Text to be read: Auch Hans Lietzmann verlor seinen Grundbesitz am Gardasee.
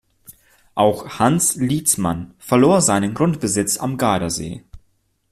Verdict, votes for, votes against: accepted, 2, 0